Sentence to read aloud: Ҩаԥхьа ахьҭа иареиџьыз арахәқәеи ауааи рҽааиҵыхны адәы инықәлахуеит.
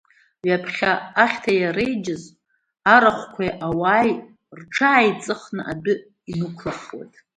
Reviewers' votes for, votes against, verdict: 1, 2, rejected